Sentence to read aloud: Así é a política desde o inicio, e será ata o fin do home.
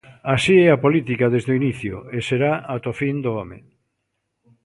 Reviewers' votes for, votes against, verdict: 2, 0, accepted